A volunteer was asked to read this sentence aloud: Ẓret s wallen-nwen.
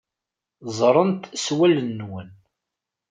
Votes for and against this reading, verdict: 2, 3, rejected